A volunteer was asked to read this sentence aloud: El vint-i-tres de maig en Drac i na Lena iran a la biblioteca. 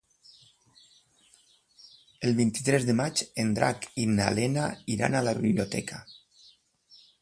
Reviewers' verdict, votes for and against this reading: accepted, 4, 0